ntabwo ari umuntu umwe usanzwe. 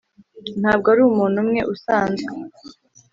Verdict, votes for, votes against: accepted, 2, 0